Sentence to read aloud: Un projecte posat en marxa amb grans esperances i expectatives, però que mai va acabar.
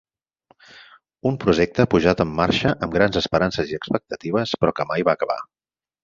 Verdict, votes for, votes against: rejected, 2, 4